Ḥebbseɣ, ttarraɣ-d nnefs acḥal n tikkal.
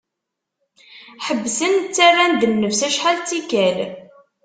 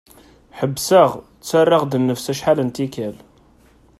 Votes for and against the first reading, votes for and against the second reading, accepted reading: 0, 2, 2, 0, second